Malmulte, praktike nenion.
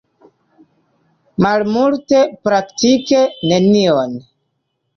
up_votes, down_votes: 2, 0